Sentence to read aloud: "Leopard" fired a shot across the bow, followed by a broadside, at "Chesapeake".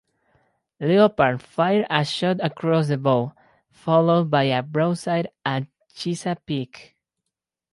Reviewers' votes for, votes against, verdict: 4, 2, accepted